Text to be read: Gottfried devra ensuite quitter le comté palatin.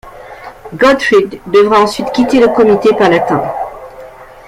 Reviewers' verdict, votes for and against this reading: rejected, 0, 2